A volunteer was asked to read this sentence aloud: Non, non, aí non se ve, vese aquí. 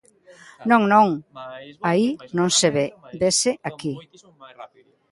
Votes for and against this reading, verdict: 1, 2, rejected